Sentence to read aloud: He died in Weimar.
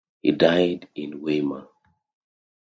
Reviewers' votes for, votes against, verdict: 2, 0, accepted